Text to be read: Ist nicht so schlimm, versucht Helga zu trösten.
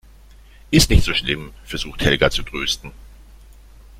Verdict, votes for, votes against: rejected, 1, 2